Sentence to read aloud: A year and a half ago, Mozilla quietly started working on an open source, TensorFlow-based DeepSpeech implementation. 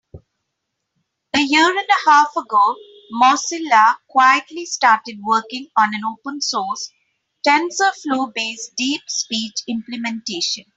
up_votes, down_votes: 3, 0